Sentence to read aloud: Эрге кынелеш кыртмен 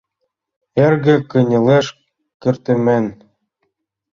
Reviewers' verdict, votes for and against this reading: rejected, 1, 3